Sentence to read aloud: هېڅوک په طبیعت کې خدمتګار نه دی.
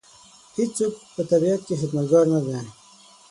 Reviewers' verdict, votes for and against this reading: rejected, 0, 6